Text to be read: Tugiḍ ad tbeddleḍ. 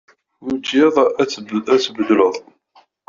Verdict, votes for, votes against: rejected, 0, 2